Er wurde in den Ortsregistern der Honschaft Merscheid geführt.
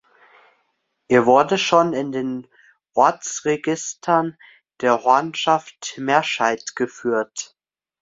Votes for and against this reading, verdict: 0, 2, rejected